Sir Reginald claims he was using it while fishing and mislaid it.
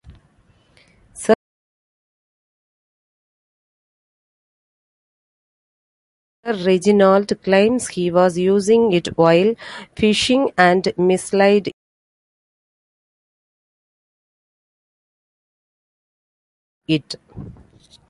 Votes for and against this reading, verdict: 0, 2, rejected